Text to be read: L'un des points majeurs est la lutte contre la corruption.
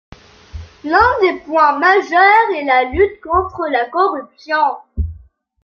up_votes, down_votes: 3, 1